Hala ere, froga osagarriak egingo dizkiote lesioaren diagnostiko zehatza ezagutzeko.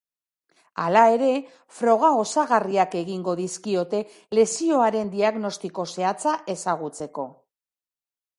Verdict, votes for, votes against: accepted, 2, 0